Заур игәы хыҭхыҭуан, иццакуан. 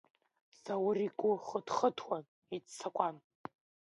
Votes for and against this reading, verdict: 2, 0, accepted